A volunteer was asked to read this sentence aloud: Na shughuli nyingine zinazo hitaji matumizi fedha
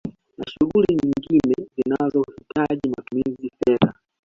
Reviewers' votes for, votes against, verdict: 0, 2, rejected